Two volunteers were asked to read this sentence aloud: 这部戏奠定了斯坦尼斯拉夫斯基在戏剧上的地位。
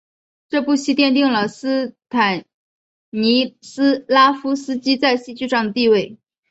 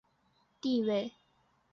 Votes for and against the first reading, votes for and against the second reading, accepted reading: 2, 0, 0, 3, first